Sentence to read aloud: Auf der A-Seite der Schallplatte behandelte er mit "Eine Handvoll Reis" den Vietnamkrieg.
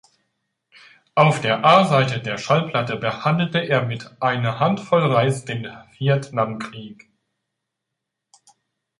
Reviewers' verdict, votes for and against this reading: accepted, 2, 0